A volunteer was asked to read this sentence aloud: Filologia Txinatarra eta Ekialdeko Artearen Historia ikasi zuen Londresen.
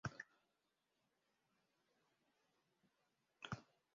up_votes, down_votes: 0, 2